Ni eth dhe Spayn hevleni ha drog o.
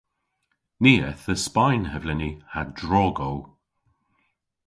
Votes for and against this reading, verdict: 2, 0, accepted